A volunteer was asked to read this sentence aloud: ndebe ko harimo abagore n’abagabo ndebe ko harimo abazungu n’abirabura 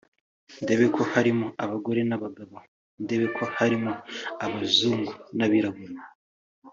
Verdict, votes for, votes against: accepted, 2, 0